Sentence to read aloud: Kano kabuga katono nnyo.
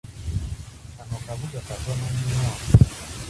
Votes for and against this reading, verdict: 1, 2, rejected